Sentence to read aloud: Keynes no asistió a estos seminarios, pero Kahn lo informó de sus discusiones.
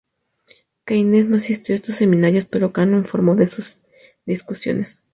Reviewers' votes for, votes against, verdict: 2, 0, accepted